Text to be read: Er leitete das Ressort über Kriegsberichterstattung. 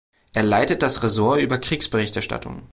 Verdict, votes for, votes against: rejected, 0, 3